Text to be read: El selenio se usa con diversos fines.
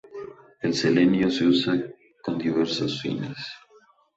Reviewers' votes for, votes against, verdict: 2, 0, accepted